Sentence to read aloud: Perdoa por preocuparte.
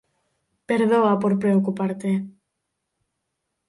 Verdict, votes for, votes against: rejected, 0, 4